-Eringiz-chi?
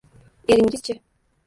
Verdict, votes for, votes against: rejected, 1, 2